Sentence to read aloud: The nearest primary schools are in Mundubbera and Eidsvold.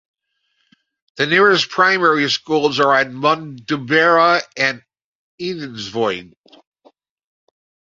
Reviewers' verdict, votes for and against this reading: rejected, 0, 2